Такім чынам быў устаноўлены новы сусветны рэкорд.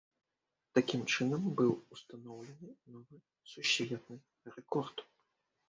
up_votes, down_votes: 1, 2